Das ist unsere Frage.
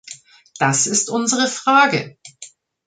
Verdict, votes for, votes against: accepted, 2, 0